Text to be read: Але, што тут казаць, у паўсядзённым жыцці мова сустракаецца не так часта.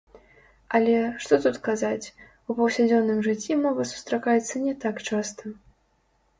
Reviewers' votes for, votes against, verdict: 0, 2, rejected